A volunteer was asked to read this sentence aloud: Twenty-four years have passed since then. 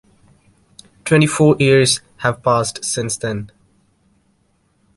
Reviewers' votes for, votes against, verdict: 2, 0, accepted